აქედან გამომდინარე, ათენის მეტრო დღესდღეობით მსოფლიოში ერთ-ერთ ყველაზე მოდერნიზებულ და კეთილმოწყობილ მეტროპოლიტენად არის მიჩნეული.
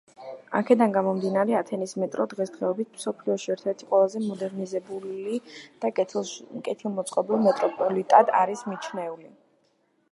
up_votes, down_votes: 1, 2